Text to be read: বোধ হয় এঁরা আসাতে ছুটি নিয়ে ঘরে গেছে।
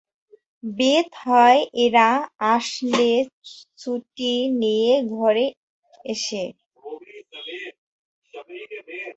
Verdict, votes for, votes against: rejected, 0, 2